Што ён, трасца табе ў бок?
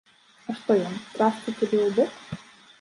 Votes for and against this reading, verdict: 0, 2, rejected